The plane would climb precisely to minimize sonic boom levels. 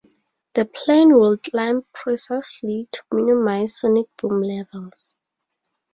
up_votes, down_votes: 0, 4